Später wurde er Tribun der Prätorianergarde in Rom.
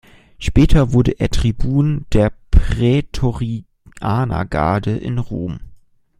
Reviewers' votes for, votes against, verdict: 0, 2, rejected